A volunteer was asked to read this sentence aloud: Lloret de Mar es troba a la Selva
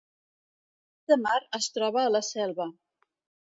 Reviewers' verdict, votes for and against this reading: rejected, 1, 2